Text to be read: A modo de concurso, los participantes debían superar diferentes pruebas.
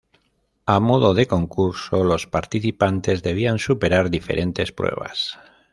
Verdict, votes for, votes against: accepted, 2, 1